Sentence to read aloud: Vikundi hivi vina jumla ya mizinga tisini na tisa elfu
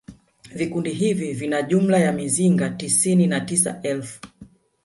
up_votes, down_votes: 0, 2